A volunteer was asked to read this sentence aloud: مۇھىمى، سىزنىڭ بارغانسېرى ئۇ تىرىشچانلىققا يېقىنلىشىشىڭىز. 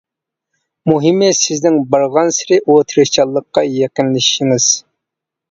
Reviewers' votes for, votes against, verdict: 2, 0, accepted